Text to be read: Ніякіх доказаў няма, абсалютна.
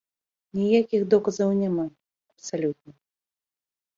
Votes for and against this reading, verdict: 1, 2, rejected